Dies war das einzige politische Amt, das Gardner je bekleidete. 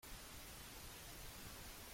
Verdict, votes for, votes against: rejected, 0, 2